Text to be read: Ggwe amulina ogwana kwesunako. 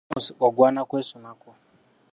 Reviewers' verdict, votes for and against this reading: rejected, 0, 2